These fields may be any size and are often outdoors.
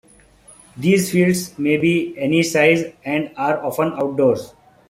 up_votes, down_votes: 2, 1